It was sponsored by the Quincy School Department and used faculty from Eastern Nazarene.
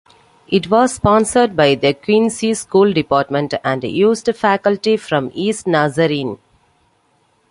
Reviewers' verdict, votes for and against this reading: accepted, 2, 0